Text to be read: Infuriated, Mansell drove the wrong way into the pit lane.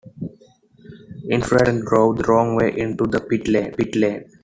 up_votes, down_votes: 0, 2